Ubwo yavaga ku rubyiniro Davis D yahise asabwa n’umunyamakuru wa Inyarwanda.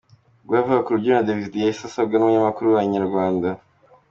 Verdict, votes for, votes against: accepted, 2, 0